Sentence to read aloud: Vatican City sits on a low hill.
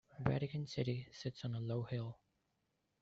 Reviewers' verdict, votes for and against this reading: accepted, 2, 0